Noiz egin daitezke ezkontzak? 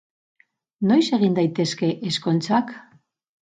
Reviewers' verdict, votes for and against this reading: accepted, 6, 0